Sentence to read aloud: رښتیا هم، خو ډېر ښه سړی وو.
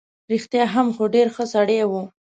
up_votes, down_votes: 2, 0